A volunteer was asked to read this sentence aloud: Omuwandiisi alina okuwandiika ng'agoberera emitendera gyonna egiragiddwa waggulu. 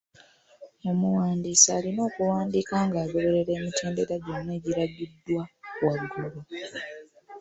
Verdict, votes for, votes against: accepted, 2, 0